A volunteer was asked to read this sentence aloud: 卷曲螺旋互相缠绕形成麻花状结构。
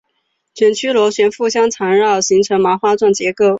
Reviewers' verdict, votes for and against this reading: accepted, 6, 2